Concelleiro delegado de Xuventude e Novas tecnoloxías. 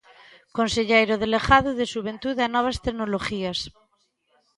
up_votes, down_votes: 0, 2